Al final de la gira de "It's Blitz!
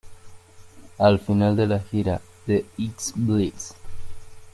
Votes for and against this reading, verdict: 1, 2, rejected